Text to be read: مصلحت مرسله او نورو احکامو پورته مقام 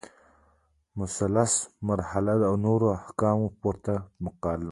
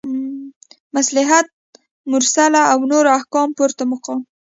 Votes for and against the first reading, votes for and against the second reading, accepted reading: 2, 1, 0, 2, first